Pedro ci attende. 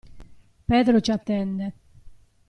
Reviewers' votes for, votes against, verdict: 2, 0, accepted